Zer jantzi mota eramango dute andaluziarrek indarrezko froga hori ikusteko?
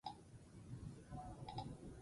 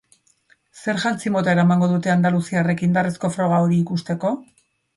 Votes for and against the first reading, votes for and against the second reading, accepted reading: 0, 4, 2, 0, second